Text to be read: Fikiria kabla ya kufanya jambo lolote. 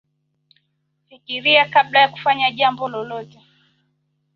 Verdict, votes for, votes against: accepted, 2, 0